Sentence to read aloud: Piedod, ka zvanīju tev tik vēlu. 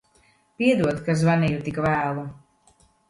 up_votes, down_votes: 1, 2